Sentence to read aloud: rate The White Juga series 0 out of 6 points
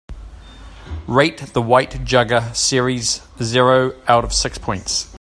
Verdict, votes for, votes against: rejected, 0, 2